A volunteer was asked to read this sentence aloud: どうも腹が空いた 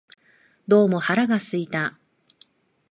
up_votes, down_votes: 2, 0